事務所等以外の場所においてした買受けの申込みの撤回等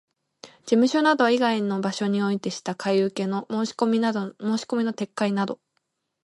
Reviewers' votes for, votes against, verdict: 1, 2, rejected